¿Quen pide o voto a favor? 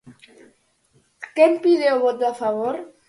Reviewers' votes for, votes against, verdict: 6, 0, accepted